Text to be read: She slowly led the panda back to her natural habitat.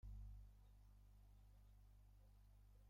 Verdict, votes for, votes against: rejected, 1, 2